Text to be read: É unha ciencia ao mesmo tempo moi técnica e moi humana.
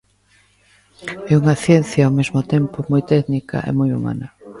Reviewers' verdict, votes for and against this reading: accepted, 2, 0